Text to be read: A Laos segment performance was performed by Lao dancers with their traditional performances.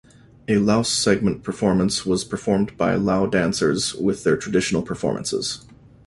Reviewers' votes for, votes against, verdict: 2, 0, accepted